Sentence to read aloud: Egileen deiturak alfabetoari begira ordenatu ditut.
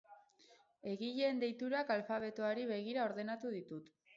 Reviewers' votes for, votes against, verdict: 6, 0, accepted